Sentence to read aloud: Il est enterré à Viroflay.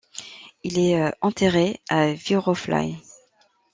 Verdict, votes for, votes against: rejected, 0, 2